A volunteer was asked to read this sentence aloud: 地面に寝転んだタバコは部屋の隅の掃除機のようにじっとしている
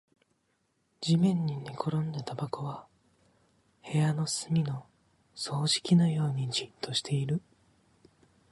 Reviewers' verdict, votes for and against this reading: accepted, 3, 1